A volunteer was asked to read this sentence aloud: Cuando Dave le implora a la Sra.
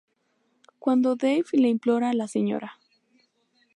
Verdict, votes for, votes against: rejected, 0, 2